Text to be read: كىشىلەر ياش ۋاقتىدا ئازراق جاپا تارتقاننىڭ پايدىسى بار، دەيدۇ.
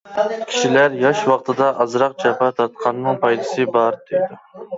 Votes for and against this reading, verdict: 2, 1, accepted